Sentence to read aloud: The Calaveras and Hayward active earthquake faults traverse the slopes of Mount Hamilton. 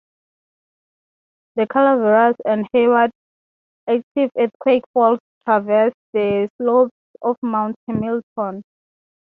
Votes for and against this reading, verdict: 0, 3, rejected